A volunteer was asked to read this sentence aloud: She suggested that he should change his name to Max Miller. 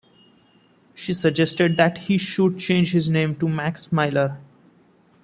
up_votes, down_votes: 1, 2